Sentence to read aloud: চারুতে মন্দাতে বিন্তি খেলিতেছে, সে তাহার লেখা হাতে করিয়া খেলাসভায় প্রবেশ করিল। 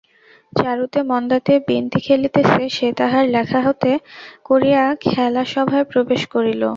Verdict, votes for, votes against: accepted, 2, 0